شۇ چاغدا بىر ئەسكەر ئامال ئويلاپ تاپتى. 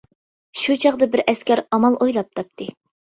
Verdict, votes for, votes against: accepted, 2, 0